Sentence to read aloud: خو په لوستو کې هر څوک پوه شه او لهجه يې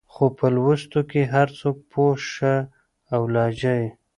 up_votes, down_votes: 3, 1